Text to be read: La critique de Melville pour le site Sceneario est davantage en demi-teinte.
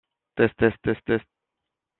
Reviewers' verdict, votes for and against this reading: rejected, 0, 2